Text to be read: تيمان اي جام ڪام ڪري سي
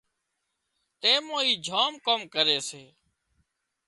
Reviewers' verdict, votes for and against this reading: rejected, 1, 2